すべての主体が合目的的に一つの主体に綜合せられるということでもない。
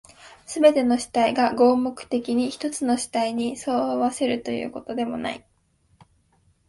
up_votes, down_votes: 6, 3